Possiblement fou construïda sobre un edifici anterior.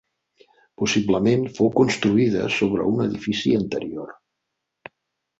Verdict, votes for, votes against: accepted, 4, 0